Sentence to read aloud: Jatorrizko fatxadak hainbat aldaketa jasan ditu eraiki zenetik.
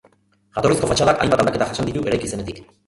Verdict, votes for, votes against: rejected, 0, 2